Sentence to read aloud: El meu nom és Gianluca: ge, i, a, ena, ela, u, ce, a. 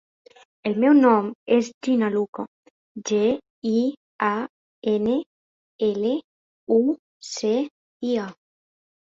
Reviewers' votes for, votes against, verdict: 0, 2, rejected